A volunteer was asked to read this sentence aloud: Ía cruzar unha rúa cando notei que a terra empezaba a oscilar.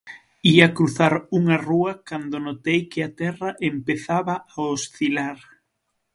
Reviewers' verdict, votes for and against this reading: accepted, 6, 0